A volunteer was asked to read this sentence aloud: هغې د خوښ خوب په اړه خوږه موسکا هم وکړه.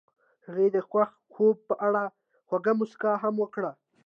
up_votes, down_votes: 2, 0